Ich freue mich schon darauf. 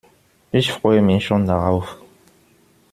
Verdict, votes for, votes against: accepted, 2, 0